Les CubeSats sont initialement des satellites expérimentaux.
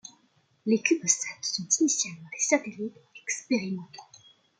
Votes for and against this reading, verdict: 2, 0, accepted